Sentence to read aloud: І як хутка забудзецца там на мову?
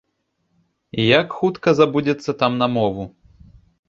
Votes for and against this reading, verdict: 2, 0, accepted